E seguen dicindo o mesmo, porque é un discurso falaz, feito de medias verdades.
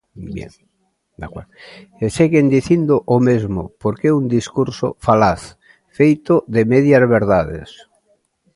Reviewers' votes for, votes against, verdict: 1, 2, rejected